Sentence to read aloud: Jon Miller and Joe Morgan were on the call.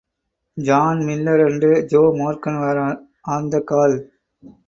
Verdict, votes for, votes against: rejected, 0, 4